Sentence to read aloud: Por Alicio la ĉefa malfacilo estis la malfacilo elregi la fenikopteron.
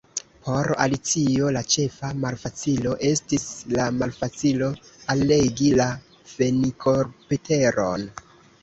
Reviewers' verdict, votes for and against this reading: rejected, 0, 2